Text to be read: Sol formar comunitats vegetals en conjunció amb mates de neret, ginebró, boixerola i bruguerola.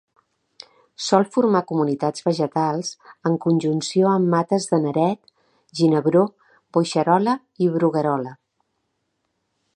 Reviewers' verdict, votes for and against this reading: accepted, 2, 0